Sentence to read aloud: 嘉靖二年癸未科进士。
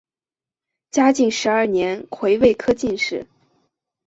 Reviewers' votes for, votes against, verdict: 2, 4, rejected